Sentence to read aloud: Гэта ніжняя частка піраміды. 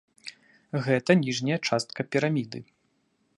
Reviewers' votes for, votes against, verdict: 2, 0, accepted